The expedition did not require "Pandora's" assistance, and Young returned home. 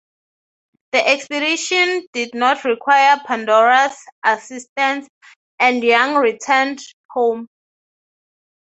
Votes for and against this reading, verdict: 3, 0, accepted